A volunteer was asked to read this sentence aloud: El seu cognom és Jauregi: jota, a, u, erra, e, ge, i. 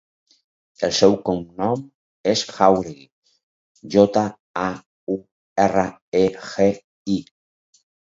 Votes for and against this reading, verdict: 4, 2, accepted